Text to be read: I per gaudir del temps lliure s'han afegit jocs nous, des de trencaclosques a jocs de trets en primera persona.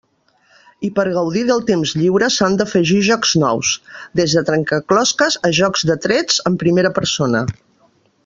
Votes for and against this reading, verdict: 1, 2, rejected